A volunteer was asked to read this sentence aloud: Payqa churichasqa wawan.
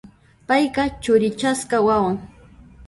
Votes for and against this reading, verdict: 0, 2, rejected